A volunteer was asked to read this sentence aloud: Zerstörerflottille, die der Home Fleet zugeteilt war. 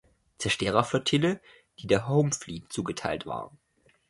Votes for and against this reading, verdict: 2, 1, accepted